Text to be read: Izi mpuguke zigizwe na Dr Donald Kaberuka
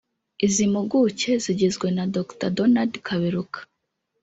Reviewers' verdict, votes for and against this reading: rejected, 1, 2